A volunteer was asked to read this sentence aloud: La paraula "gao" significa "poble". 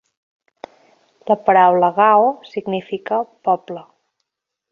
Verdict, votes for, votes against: accepted, 2, 0